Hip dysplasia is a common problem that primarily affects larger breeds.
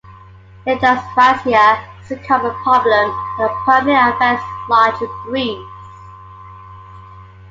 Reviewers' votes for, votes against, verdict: 1, 2, rejected